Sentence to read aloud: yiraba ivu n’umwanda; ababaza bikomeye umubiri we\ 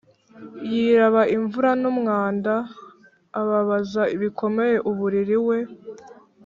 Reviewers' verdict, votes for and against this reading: rejected, 0, 2